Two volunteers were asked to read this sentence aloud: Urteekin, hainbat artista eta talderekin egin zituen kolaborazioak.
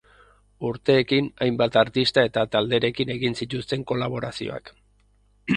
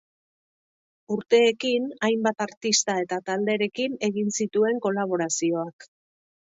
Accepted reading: second